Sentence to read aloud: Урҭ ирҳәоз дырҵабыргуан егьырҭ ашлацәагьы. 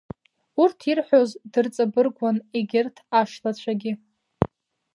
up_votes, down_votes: 0, 2